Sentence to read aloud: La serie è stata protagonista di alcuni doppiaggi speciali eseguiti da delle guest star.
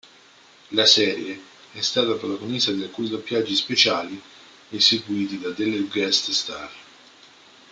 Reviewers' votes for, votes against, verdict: 1, 2, rejected